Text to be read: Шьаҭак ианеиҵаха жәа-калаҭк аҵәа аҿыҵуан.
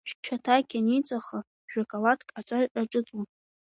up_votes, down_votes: 2, 0